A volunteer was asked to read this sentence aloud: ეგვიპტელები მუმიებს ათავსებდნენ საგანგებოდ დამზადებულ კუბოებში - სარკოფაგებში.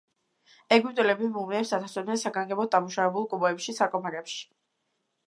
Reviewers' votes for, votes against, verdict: 1, 2, rejected